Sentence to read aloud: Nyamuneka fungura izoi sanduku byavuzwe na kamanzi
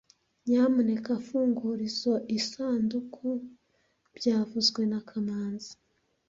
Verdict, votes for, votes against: accepted, 2, 0